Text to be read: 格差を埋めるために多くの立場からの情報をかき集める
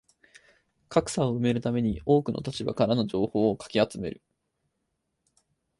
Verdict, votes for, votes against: accepted, 4, 0